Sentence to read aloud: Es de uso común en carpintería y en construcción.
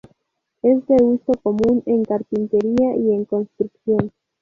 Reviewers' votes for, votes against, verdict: 2, 0, accepted